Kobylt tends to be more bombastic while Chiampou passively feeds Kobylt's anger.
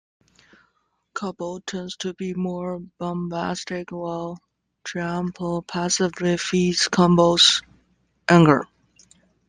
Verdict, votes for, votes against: rejected, 1, 2